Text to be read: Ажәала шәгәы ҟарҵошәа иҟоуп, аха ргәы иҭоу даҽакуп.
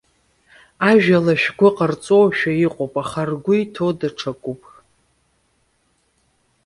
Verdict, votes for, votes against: rejected, 1, 2